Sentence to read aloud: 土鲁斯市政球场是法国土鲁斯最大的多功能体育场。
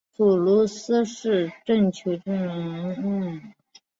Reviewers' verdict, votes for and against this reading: accepted, 2, 1